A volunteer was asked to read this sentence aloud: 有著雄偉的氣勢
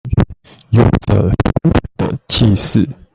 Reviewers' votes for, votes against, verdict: 0, 2, rejected